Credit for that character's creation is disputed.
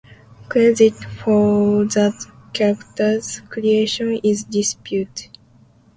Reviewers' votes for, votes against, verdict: 0, 2, rejected